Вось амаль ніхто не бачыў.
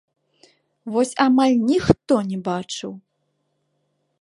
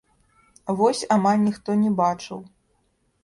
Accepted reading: first